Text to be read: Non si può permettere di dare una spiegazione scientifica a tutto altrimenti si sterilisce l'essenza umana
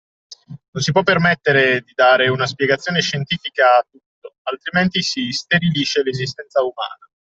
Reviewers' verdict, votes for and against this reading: rejected, 1, 2